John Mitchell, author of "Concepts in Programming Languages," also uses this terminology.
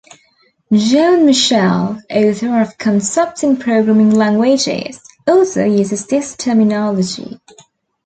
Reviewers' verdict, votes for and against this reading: accepted, 2, 0